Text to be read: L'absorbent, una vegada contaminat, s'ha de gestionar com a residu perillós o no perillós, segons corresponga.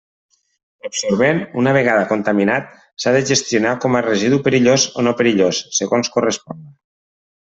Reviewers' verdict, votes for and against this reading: rejected, 0, 2